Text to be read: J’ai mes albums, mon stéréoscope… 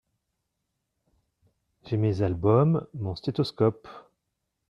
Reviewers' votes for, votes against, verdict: 0, 2, rejected